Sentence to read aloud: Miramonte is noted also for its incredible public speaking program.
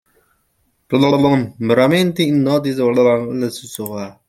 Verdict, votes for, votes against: rejected, 0, 2